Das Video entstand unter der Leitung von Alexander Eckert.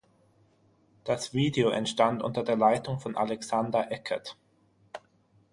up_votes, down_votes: 6, 0